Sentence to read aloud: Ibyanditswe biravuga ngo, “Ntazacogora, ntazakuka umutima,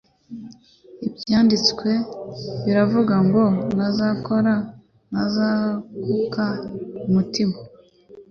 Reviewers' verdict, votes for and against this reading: rejected, 1, 3